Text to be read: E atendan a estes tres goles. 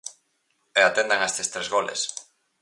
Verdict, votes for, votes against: accepted, 4, 0